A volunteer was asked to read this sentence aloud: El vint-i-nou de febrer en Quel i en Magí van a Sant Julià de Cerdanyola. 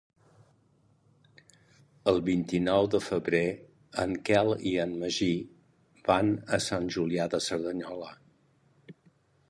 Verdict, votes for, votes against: accepted, 4, 0